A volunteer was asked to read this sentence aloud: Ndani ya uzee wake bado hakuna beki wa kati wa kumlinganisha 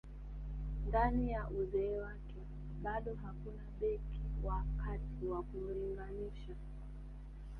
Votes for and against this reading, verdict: 2, 0, accepted